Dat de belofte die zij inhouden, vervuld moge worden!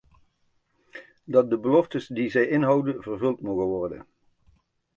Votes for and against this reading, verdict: 1, 2, rejected